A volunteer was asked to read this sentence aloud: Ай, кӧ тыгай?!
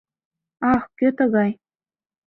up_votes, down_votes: 0, 2